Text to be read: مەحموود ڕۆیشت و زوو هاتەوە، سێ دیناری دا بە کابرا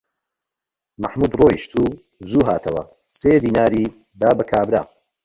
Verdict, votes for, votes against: accepted, 2, 0